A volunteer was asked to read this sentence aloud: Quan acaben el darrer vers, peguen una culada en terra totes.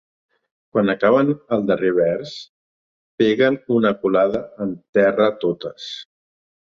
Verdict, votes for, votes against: accepted, 3, 0